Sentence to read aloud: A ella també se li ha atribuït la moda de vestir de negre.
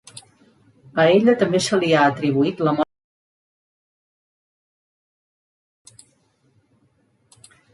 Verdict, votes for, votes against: rejected, 0, 2